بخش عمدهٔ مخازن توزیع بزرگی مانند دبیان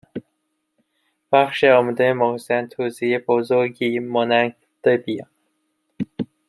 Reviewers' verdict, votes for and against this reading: rejected, 0, 2